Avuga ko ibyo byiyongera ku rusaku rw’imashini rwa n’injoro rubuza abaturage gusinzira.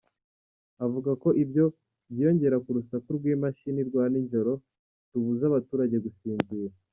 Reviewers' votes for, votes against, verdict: 0, 2, rejected